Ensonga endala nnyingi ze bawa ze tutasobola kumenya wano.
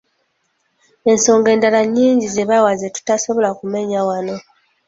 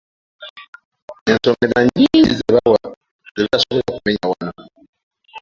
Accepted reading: first